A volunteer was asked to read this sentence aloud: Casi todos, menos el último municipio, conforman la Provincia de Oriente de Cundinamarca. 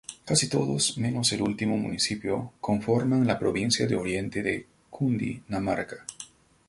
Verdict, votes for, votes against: accepted, 2, 0